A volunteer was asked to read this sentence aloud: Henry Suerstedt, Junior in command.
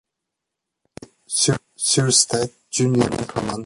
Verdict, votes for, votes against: rejected, 0, 2